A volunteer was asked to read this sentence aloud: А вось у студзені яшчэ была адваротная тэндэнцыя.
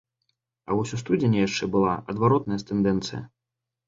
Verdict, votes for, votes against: rejected, 0, 2